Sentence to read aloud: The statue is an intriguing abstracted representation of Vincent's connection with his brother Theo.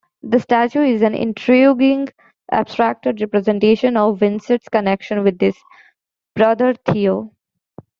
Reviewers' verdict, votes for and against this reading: rejected, 0, 2